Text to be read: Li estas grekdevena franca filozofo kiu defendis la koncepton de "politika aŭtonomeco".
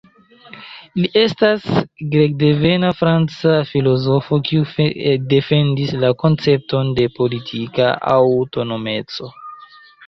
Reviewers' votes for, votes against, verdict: 0, 2, rejected